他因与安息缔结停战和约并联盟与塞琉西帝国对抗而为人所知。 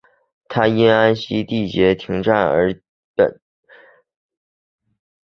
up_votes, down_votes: 0, 2